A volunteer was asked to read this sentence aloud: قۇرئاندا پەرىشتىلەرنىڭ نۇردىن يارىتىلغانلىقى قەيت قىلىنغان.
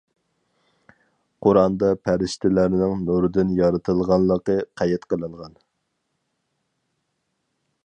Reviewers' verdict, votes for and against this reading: accepted, 4, 0